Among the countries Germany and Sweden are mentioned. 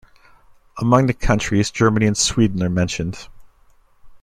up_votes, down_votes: 2, 0